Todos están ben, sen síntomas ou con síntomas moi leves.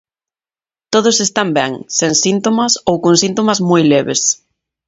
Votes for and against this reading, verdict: 21, 3, accepted